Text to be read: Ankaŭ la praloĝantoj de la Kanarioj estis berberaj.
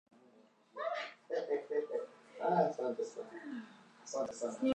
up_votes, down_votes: 1, 2